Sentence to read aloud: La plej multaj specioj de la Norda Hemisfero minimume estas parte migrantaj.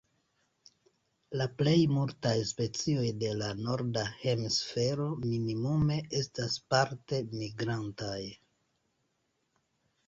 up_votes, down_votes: 1, 2